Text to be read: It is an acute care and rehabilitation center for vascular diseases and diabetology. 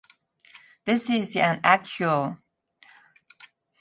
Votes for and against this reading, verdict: 0, 3, rejected